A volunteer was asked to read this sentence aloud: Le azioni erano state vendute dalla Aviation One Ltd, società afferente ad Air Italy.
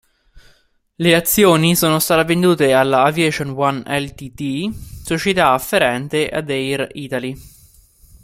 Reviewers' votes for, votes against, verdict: 0, 2, rejected